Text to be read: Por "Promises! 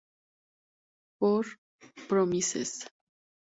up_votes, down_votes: 0, 2